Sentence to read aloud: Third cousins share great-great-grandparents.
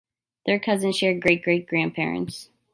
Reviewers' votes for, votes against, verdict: 2, 0, accepted